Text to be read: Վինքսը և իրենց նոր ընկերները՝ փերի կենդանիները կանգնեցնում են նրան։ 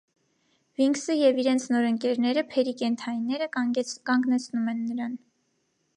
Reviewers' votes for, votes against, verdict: 1, 2, rejected